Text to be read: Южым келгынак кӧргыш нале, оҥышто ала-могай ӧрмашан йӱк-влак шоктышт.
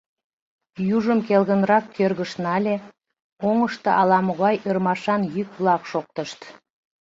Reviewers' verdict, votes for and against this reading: rejected, 0, 2